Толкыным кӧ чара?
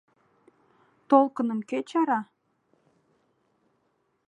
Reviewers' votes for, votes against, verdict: 2, 0, accepted